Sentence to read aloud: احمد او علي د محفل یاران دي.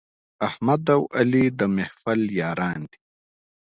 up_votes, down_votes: 2, 0